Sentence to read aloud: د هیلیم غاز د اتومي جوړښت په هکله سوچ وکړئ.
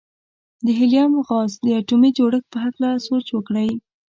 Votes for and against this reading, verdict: 2, 0, accepted